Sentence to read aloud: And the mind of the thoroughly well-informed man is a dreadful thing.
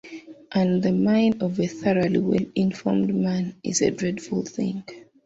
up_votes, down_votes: 0, 2